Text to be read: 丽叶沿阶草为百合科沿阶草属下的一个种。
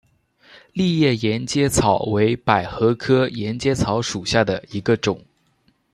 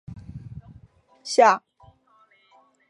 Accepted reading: first